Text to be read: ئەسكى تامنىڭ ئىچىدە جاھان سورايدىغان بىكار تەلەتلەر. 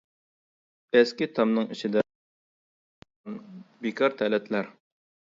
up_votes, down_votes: 0, 2